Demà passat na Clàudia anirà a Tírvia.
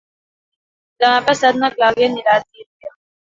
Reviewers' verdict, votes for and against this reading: accepted, 2, 1